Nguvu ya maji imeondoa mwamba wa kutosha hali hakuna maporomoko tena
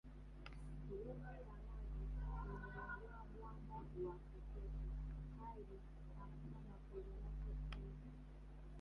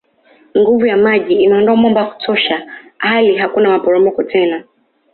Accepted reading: second